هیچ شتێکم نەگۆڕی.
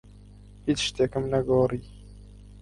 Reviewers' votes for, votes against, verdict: 4, 0, accepted